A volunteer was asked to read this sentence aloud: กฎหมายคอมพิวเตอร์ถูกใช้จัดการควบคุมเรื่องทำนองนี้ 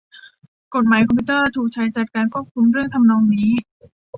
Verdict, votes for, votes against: accepted, 2, 1